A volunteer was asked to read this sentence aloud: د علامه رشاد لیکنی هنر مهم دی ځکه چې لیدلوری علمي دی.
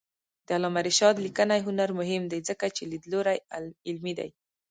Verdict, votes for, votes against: rejected, 0, 2